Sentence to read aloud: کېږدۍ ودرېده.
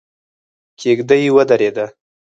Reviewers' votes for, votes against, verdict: 0, 4, rejected